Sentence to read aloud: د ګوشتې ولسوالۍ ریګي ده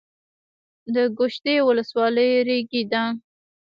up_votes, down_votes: 1, 2